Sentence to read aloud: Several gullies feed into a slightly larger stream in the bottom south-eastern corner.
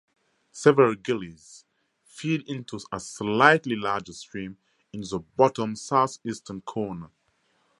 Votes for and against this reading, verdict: 2, 2, rejected